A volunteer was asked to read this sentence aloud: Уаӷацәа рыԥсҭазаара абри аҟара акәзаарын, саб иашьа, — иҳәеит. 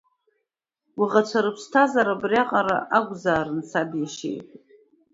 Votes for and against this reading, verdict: 2, 0, accepted